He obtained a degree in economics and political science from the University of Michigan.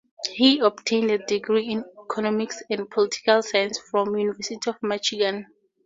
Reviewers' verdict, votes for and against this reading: rejected, 0, 2